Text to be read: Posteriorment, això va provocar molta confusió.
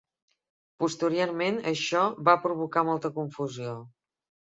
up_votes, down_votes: 2, 3